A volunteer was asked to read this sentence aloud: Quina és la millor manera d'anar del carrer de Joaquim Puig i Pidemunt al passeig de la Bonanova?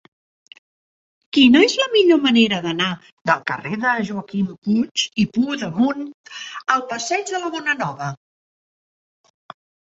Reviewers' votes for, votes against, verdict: 0, 2, rejected